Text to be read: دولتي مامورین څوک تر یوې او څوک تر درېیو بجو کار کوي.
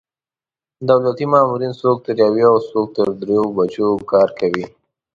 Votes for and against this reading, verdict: 2, 0, accepted